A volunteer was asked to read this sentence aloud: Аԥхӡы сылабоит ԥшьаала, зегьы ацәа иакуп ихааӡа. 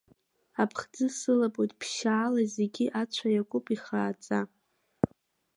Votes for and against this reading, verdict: 2, 0, accepted